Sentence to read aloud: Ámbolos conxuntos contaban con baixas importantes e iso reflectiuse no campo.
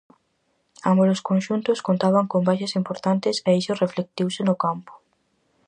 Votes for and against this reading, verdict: 4, 0, accepted